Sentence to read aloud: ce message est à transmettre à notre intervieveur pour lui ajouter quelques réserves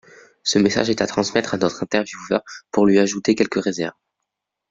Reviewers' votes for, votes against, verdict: 2, 0, accepted